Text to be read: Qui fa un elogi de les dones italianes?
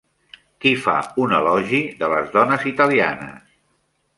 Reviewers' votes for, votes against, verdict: 3, 0, accepted